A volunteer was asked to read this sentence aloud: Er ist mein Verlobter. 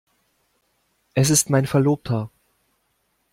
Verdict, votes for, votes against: rejected, 1, 2